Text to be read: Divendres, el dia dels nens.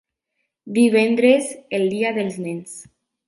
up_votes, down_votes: 3, 0